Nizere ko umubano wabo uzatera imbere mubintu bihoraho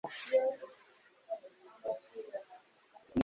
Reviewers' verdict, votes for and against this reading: rejected, 1, 2